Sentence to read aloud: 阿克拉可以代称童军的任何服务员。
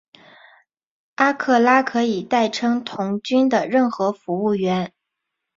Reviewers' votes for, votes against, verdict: 3, 0, accepted